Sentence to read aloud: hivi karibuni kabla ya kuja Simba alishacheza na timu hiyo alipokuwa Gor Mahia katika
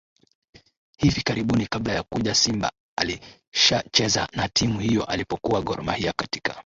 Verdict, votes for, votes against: accepted, 2, 0